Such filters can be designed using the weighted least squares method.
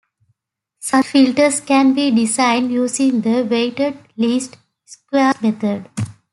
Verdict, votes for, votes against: accepted, 2, 0